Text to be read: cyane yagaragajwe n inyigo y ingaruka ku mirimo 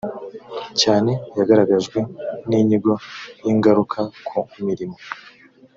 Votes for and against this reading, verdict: 2, 0, accepted